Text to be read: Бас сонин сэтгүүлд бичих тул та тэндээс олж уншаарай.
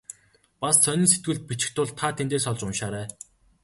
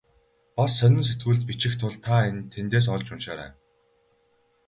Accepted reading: first